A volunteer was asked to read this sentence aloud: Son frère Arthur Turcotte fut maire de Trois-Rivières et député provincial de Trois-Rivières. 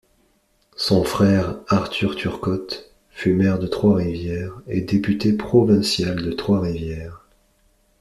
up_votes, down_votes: 2, 0